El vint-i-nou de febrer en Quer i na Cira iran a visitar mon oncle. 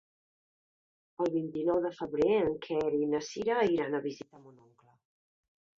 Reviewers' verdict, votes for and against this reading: accepted, 2, 0